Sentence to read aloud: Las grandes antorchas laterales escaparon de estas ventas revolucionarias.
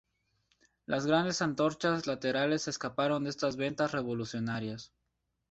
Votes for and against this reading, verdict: 2, 0, accepted